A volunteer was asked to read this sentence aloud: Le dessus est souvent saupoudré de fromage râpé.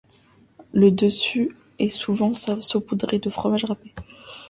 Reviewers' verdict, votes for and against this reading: rejected, 1, 2